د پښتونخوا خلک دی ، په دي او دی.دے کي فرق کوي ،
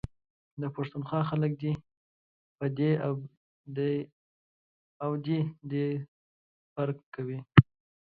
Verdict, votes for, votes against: rejected, 0, 3